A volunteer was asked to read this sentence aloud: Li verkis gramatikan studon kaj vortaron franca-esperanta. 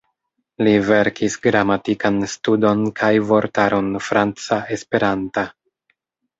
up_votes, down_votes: 3, 0